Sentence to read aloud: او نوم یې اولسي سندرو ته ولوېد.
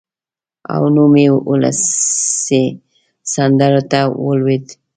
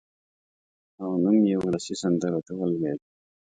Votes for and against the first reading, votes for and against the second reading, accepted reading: 1, 2, 2, 0, second